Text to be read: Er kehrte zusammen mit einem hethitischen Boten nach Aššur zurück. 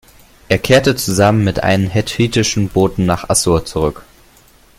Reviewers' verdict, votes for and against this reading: accepted, 2, 0